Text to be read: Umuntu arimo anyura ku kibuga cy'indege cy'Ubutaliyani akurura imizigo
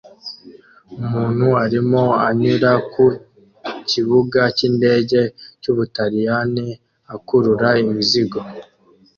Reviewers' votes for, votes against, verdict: 2, 0, accepted